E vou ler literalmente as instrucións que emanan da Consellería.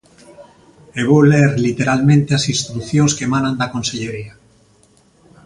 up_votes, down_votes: 6, 1